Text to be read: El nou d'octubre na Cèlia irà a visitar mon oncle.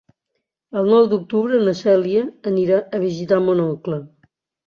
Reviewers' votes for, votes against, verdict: 0, 2, rejected